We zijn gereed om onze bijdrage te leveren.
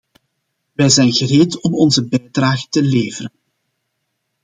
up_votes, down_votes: 2, 0